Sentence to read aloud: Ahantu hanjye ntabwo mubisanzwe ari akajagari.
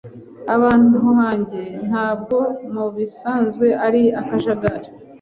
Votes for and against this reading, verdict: 1, 2, rejected